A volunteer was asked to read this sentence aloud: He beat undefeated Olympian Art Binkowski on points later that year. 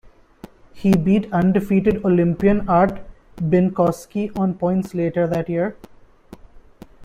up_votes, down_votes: 2, 0